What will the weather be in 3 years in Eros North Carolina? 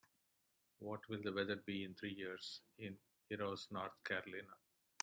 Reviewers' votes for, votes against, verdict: 0, 2, rejected